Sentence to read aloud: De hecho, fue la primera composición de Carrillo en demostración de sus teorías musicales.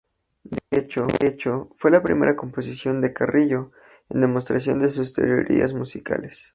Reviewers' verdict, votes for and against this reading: rejected, 0, 2